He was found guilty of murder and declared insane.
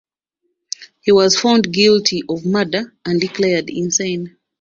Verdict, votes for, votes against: accepted, 2, 0